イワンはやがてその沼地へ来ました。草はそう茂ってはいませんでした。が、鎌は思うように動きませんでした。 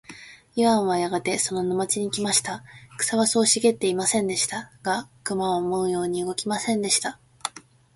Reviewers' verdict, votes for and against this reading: rejected, 1, 2